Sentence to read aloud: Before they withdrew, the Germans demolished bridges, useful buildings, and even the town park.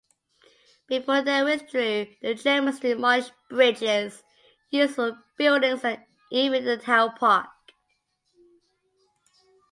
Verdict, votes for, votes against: accepted, 2, 0